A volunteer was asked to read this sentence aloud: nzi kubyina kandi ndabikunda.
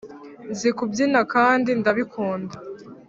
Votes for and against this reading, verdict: 2, 0, accepted